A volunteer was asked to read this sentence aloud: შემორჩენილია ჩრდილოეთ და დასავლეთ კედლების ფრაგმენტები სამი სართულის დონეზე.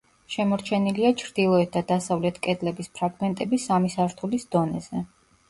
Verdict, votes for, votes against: accepted, 2, 0